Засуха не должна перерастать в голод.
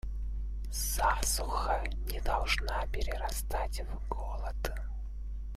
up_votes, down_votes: 2, 0